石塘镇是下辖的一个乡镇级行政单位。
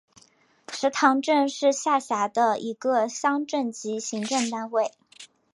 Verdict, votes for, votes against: accepted, 5, 0